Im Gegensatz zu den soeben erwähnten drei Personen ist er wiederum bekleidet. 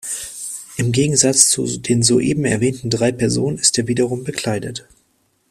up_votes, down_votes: 0, 2